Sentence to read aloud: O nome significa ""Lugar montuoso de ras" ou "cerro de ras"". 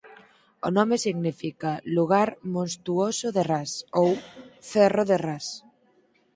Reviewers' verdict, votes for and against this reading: rejected, 0, 4